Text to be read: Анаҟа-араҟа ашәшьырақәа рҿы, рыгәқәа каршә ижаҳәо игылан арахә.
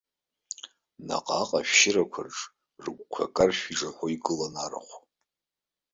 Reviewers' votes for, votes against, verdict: 2, 3, rejected